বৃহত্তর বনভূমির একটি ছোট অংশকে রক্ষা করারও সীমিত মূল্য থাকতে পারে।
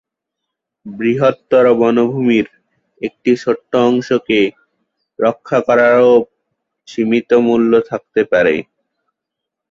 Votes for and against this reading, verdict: 4, 2, accepted